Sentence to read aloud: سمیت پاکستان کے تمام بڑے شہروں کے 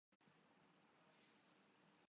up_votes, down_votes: 0, 3